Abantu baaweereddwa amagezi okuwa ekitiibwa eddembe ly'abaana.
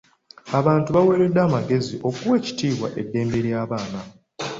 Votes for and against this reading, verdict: 2, 0, accepted